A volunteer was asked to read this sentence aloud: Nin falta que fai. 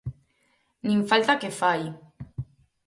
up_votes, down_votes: 4, 0